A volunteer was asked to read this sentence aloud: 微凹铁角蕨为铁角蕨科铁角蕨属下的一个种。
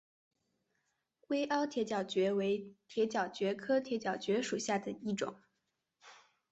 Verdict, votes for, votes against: accepted, 5, 1